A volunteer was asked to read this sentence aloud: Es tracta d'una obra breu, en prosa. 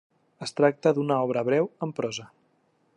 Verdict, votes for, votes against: accepted, 3, 0